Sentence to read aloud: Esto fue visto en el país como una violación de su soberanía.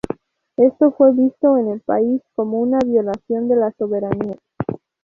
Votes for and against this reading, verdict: 0, 2, rejected